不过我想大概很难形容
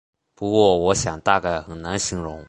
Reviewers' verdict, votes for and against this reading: accepted, 6, 0